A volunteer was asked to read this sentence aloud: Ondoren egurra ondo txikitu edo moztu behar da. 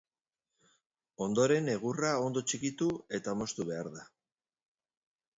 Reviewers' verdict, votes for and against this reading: rejected, 0, 2